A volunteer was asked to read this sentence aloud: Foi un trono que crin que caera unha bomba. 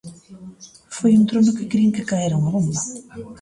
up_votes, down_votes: 1, 2